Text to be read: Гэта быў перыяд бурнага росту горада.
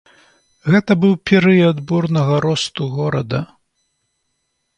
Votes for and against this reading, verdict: 2, 0, accepted